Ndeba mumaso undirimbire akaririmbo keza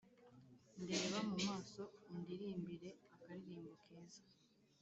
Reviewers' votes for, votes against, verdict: 2, 3, rejected